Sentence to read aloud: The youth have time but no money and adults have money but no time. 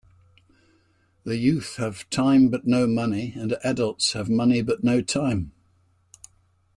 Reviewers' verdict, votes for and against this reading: accepted, 2, 0